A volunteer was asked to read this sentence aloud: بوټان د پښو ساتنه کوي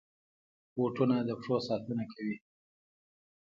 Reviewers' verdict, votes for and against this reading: accepted, 2, 0